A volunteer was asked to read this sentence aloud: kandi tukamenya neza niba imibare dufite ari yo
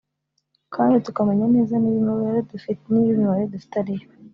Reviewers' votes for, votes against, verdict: 1, 2, rejected